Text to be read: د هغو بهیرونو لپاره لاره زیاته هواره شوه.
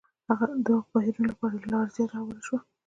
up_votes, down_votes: 1, 2